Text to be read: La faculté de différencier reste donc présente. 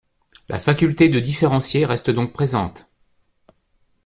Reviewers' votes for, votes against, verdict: 2, 0, accepted